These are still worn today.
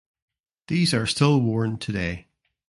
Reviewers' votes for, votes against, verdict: 2, 0, accepted